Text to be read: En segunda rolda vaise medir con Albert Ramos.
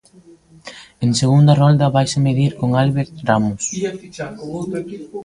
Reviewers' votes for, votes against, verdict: 0, 2, rejected